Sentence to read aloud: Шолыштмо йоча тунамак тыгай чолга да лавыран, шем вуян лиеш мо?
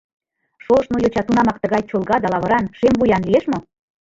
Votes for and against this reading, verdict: 0, 2, rejected